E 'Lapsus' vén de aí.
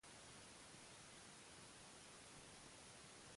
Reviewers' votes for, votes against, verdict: 0, 3, rejected